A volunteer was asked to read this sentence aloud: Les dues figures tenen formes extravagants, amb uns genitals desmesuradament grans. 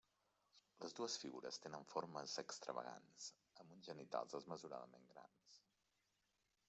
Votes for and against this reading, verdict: 0, 2, rejected